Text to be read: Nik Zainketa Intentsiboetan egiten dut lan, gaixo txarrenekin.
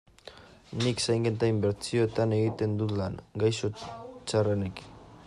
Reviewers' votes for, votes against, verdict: 0, 2, rejected